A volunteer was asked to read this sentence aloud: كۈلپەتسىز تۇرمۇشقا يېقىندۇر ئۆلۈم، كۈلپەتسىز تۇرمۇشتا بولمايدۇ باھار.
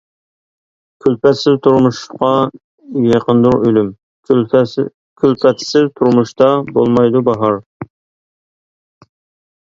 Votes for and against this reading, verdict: 1, 2, rejected